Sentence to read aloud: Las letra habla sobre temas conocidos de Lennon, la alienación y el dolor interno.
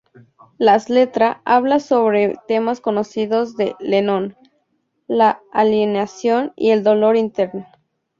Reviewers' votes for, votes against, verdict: 0, 2, rejected